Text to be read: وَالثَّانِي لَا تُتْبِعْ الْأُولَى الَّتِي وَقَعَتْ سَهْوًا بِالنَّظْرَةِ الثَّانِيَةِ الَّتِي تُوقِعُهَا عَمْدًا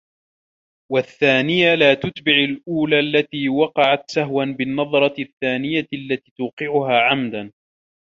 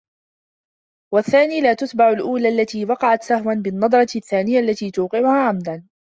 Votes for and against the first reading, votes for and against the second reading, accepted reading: 0, 2, 3, 1, second